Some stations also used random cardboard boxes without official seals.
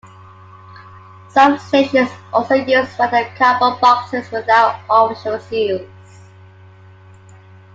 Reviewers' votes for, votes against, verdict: 0, 2, rejected